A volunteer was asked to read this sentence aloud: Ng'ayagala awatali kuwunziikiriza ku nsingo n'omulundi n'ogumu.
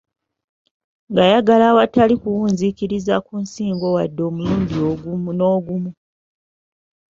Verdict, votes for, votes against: rejected, 0, 2